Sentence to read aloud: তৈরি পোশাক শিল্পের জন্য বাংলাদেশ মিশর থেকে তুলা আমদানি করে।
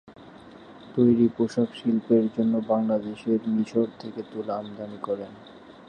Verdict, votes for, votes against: rejected, 0, 2